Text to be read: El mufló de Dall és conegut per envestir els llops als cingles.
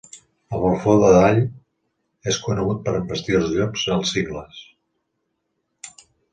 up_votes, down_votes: 0, 3